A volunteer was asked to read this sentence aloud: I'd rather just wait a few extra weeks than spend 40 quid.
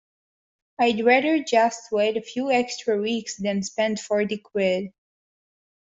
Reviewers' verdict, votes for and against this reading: rejected, 0, 2